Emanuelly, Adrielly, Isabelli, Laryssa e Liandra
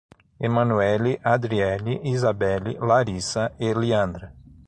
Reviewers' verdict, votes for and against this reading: accepted, 6, 0